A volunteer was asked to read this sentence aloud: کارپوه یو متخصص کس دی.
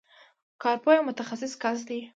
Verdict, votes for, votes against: accepted, 2, 0